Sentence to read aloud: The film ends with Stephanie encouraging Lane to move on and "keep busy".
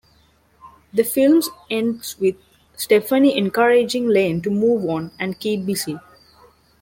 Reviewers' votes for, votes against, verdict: 0, 2, rejected